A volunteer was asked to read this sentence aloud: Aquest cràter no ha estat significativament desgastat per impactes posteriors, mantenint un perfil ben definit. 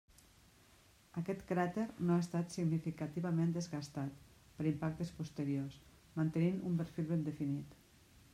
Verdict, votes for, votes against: rejected, 0, 2